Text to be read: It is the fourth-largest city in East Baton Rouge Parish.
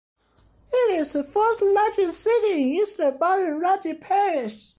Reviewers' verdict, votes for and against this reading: accepted, 2, 0